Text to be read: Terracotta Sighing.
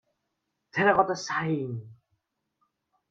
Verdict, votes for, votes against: rejected, 1, 2